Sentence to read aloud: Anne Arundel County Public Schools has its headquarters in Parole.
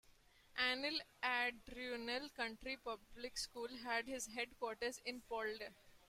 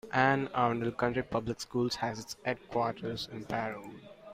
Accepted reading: second